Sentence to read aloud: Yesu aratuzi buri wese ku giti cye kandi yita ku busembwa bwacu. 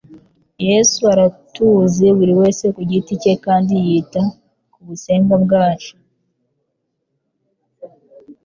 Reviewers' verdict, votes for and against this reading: accepted, 2, 0